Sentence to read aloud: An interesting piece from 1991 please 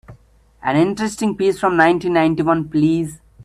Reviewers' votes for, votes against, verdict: 0, 2, rejected